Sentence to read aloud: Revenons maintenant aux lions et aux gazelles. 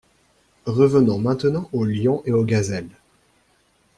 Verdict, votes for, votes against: accepted, 2, 0